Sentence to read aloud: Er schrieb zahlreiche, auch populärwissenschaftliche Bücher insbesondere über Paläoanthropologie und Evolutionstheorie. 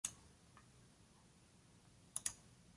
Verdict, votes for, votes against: rejected, 0, 2